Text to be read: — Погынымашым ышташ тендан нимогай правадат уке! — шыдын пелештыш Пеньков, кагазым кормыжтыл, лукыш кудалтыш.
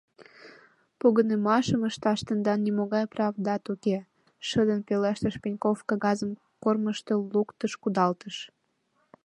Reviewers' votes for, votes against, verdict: 1, 2, rejected